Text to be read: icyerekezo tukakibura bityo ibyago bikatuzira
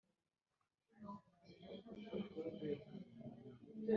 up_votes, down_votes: 1, 2